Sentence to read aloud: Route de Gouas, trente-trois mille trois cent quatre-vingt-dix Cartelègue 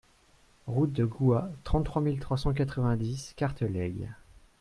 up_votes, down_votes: 4, 0